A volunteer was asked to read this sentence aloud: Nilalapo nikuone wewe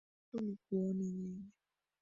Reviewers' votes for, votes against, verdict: 1, 2, rejected